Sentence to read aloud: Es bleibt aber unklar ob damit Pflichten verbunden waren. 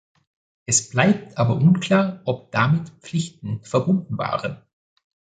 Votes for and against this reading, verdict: 2, 0, accepted